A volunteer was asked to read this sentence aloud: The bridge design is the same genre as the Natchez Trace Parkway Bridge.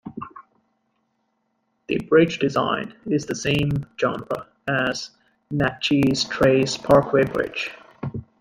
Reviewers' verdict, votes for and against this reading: accepted, 2, 1